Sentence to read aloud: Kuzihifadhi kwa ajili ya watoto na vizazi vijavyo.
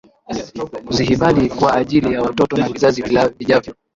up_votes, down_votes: 0, 2